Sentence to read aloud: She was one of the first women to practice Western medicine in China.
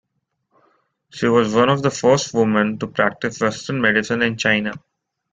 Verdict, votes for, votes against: accepted, 2, 1